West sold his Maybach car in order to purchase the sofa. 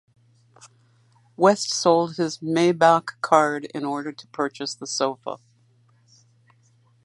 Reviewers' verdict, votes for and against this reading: accepted, 2, 0